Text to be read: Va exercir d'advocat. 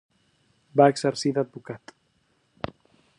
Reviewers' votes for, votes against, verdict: 3, 0, accepted